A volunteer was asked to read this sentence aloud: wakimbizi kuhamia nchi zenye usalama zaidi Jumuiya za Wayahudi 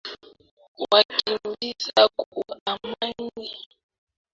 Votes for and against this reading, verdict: 0, 3, rejected